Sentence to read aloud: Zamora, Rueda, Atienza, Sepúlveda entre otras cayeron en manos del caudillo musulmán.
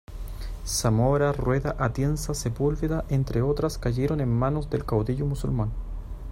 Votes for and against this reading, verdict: 2, 0, accepted